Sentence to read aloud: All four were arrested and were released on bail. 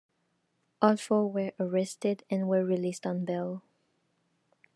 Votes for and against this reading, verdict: 2, 0, accepted